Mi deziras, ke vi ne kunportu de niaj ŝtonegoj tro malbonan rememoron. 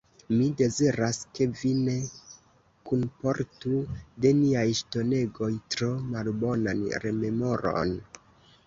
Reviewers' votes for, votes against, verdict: 2, 1, accepted